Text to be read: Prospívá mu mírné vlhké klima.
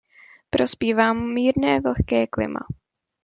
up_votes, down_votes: 2, 0